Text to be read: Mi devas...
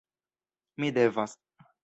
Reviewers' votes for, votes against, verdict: 2, 1, accepted